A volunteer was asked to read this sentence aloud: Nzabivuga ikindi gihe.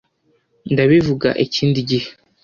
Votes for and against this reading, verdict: 1, 2, rejected